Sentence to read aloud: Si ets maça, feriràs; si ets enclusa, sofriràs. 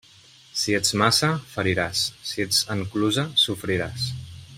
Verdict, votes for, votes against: accepted, 2, 0